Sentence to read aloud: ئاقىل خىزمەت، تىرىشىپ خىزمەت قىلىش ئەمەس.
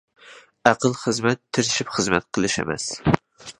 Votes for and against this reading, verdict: 2, 0, accepted